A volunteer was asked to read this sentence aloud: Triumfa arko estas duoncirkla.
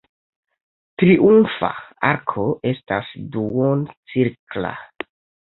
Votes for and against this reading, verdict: 2, 1, accepted